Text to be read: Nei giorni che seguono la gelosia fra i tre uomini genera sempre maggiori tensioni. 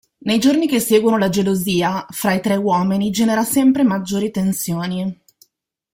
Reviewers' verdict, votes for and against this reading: accepted, 2, 1